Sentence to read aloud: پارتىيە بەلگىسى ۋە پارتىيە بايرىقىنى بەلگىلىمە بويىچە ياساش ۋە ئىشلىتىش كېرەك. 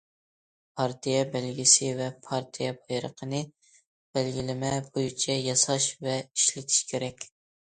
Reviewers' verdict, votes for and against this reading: accepted, 2, 0